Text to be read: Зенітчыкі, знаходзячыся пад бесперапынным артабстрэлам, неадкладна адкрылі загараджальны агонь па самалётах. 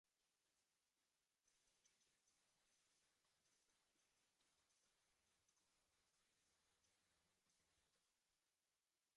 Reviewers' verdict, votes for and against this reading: rejected, 0, 2